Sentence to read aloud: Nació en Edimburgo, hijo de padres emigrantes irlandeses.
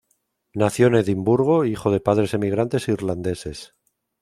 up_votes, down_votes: 2, 0